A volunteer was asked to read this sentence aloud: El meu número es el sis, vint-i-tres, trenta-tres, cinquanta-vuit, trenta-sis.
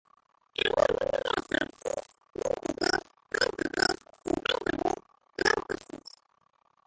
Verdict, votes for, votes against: rejected, 0, 3